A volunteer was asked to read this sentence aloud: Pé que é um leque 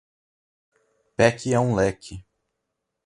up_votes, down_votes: 4, 0